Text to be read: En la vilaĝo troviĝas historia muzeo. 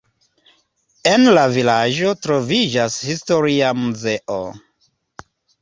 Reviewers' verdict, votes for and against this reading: accepted, 2, 1